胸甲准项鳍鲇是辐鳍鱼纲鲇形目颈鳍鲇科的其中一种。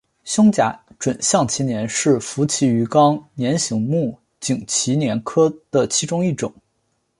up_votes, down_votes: 2, 1